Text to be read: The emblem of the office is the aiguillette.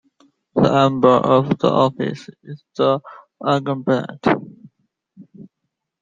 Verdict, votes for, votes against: rejected, 0, 2